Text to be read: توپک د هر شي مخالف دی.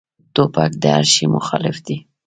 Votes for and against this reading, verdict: 0, 2, rejected